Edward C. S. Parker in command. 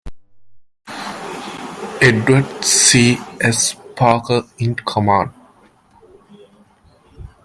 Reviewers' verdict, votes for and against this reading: accepted, 2, 0